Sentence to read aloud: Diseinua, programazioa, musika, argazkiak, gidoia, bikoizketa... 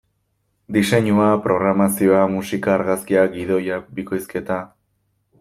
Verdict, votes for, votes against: accepted, 2, 0